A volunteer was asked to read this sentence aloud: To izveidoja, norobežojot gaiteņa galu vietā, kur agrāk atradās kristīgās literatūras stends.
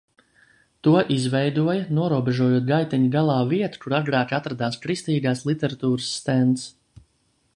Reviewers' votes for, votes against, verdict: 0, 2, rejected